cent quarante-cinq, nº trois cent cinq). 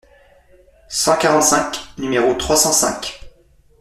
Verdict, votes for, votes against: accepted, 2, 0